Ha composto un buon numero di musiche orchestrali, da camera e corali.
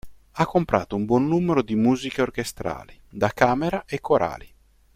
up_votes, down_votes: 1, 2